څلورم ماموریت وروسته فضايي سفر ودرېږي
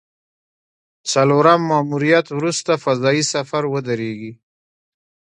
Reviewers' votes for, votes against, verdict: 1, 2, rejected